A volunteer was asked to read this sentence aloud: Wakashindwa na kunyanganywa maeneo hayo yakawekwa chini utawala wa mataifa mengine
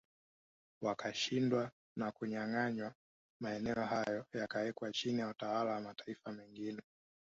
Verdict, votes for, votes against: rejected, 1, 2